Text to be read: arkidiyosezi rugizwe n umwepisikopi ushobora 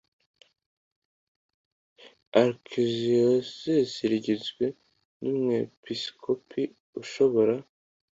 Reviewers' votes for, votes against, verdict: 2, 0, accepted